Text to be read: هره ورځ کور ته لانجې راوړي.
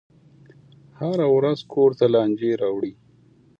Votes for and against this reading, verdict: 2, 0, accepted